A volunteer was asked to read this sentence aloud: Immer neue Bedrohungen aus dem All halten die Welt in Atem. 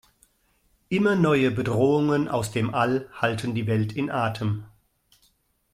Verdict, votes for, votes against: accepted, 2, 0